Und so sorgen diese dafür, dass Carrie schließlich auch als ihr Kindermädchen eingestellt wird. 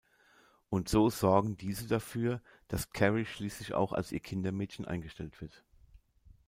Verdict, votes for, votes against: accepted, 2, 1